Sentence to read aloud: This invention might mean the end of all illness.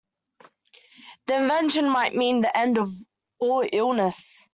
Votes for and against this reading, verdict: 0, 2, rejected